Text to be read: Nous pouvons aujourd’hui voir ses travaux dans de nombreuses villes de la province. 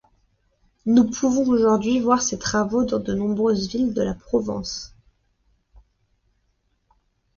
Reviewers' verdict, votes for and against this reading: rejected, 0, 2